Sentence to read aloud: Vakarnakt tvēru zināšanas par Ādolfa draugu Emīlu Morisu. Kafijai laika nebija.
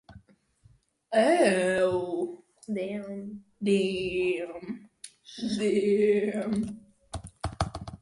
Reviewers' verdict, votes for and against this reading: rejected, 0, 2